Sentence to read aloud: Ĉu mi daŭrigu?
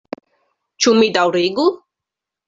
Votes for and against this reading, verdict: 2, 0, accepted